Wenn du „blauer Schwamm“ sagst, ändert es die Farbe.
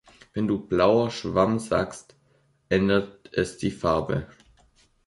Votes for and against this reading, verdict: 2, 0, accepted